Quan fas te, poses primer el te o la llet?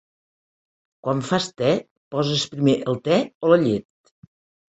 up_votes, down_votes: 5, 0